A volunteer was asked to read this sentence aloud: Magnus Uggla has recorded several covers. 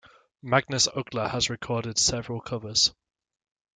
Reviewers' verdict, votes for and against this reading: accepted, 2, 0